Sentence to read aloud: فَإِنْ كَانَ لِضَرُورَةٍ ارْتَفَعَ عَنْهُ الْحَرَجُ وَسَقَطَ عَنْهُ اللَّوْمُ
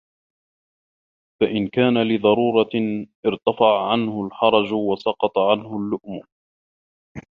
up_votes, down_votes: 0, 2